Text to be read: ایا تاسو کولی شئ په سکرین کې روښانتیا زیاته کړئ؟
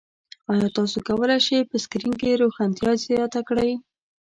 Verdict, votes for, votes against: accepted, 2, 0